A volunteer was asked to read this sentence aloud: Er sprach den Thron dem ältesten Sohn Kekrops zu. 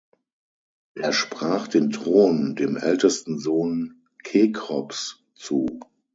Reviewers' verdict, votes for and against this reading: accepted, 9, 0